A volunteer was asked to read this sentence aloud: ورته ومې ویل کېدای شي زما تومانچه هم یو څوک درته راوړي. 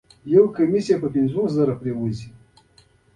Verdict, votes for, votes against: rejected, 0, 2